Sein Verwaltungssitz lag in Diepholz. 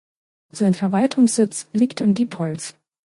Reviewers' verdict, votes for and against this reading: rejected, 0, 2